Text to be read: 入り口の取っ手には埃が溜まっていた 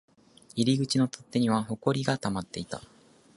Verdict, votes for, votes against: accepted, 2, 0